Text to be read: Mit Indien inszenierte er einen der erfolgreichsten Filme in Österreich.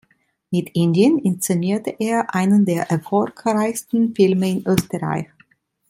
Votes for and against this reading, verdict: 2, 0, accepted